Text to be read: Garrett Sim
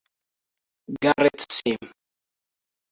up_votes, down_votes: 0, 2